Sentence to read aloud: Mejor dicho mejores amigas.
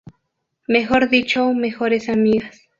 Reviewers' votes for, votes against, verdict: 2, 0, accepted